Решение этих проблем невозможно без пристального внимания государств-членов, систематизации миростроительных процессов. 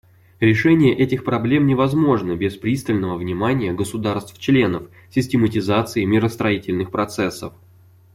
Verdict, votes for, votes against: accepted, 2, 0